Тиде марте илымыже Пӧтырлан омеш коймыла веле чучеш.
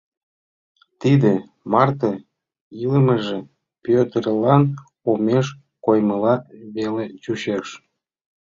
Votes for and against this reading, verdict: 1, 2, rejected